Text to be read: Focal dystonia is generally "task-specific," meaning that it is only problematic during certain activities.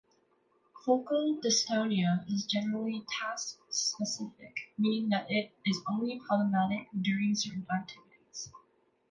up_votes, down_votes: 0, 2